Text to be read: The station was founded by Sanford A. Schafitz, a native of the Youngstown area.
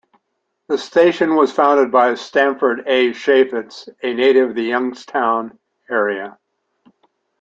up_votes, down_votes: 1, 2